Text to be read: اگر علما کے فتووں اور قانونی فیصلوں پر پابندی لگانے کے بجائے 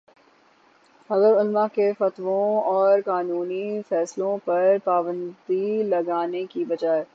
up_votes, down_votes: 6, 0